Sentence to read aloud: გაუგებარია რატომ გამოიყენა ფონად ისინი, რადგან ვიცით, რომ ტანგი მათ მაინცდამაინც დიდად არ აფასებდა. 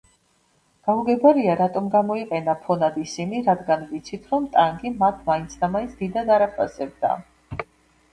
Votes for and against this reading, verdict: 2, 0, accepted